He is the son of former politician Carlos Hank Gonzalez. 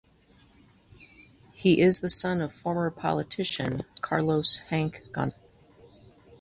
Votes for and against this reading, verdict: 0, 2, rejected